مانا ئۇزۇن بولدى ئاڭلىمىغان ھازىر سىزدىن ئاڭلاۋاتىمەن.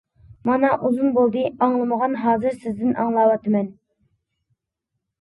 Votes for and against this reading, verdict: 2, 0, accepted